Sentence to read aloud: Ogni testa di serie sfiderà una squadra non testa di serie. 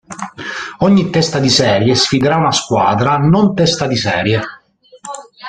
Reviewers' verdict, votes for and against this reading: accepted, 2, 0